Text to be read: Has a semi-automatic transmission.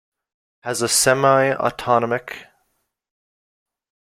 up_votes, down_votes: 0, 2